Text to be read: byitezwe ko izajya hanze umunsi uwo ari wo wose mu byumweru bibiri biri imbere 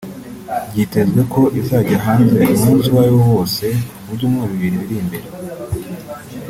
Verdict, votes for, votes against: rejected, 2, 3